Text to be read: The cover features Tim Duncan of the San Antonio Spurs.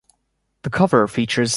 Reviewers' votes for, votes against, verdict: 1, 2, rejected